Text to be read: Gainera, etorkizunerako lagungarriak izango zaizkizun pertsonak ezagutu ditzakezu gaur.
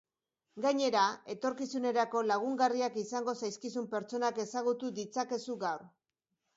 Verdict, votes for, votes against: accepted, 2, 0